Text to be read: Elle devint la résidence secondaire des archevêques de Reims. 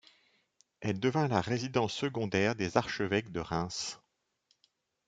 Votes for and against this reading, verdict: 2, 0, accepted